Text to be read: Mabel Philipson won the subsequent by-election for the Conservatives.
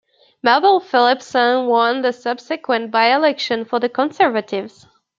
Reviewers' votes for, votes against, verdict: 1, 2, rejected